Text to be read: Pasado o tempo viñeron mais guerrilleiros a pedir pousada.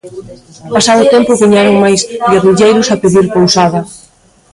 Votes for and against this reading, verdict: 1, 3, rejected